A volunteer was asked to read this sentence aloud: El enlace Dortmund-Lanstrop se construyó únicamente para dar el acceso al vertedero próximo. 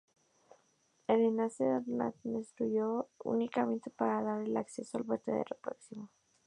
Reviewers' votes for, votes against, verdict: 0, 2, rejected